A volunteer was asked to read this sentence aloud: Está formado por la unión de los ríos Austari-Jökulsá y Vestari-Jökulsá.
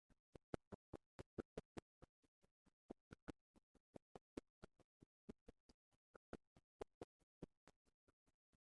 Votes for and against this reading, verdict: 0, 2, rejected